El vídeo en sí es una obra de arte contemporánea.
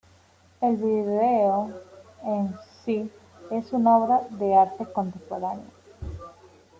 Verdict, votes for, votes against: rejected, 1, 2